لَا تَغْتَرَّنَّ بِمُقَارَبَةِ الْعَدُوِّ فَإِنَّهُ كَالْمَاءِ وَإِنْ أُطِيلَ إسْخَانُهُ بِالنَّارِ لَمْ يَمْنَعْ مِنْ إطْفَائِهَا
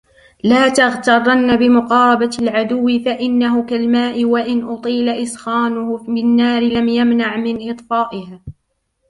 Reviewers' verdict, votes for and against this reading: accepted, 2, 1